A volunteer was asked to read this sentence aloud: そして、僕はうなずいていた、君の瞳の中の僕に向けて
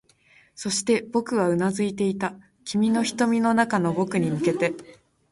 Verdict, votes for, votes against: accepted, 18, 3